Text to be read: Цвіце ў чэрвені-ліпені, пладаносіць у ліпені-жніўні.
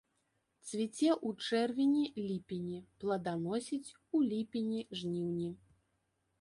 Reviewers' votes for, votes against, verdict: 1, 2, rejected